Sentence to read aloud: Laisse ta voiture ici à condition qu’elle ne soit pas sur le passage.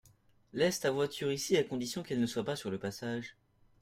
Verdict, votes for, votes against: accepted, 2, 0